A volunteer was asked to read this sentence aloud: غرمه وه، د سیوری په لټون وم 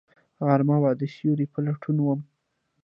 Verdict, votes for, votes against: rejected, 1, 2